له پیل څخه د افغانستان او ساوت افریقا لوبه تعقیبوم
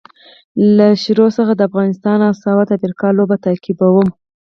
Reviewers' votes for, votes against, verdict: 2, 4, rejected